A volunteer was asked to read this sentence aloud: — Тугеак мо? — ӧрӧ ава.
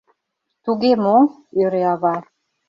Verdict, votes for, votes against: rejected, 1, 2